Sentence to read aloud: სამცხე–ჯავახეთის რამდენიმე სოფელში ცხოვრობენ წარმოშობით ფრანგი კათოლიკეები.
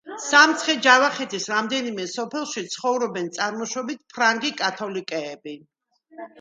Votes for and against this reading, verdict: 2, 0, accepted